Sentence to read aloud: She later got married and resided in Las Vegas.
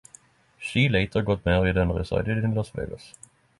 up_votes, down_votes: 6, 0